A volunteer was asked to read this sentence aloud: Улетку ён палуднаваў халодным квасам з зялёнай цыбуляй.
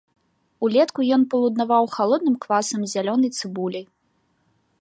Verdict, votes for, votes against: accepted, 2, 0